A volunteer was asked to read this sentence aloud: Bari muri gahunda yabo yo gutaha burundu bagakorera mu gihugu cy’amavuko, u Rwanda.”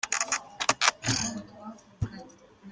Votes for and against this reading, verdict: 0, 2, rejected